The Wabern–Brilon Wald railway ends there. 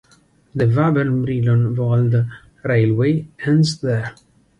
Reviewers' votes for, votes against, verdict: 2, 0, accepted